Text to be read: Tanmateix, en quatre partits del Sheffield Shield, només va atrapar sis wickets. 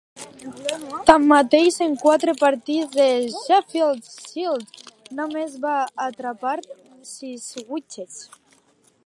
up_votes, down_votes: 1, 2